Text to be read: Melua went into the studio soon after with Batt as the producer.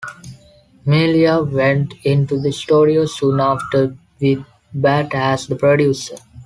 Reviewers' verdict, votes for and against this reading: accepted, 2, 0